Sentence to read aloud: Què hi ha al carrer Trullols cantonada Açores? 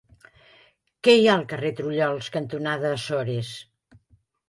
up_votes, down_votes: 2, 0